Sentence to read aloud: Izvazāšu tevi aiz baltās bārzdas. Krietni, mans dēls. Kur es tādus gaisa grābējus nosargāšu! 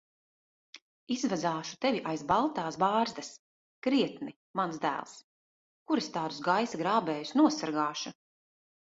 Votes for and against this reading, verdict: 2, 0, accepted